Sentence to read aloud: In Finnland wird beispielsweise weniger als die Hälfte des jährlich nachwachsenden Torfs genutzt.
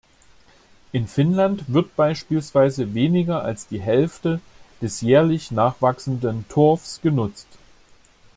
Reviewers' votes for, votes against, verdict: 2, 0, accepted